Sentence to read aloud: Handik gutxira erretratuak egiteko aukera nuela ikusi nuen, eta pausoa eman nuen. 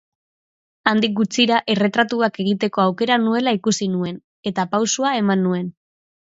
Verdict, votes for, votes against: accepted, 2, 0